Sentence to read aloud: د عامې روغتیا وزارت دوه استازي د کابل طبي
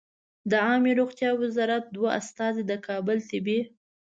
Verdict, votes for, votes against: accepted, 2, 0